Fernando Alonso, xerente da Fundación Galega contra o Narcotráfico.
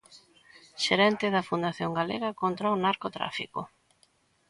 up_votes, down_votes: 1, 2